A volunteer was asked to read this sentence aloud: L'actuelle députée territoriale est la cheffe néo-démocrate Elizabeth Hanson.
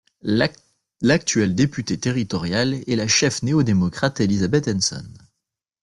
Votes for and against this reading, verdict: 0, 2, rejected